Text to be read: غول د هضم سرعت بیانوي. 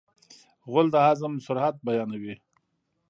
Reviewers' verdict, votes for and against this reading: rejected, 1, 2